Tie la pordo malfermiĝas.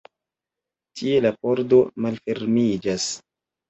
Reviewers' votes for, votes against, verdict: 2, 0, accepted